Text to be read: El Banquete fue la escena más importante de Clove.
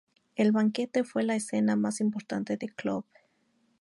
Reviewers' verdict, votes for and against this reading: accepted, 2, 0